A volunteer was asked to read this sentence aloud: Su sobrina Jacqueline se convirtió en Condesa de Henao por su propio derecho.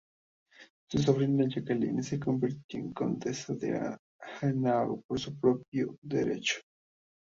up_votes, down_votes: 0, 2